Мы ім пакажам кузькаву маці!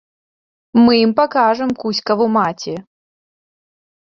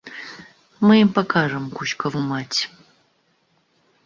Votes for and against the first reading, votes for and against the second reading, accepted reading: 2, 0, 0, 2, first